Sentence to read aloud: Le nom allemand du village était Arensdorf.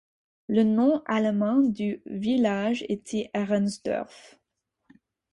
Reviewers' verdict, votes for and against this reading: accepted, 4, 0